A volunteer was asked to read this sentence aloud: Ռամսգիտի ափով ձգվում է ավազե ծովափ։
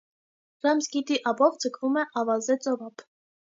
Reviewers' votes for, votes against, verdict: 2, 0, accepted